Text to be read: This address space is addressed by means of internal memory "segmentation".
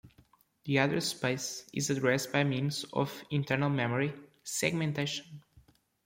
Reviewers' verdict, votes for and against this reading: accepted, 2, 0